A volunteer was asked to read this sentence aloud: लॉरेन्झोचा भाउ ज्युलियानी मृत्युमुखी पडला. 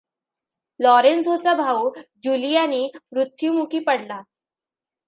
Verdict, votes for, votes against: accepted, 2, 0